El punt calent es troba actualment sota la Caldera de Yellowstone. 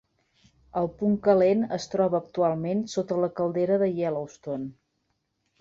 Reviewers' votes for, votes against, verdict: 2, 0, accepted